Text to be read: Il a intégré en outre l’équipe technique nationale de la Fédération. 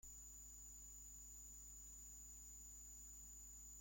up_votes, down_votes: 0, 2